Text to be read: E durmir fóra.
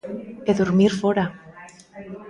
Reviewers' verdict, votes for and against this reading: rejected, 1, 2